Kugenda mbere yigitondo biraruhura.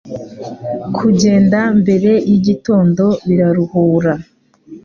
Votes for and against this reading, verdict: 2, 0, accepted